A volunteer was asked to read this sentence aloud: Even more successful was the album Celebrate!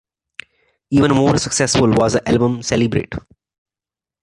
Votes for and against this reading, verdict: 1, 2, rejected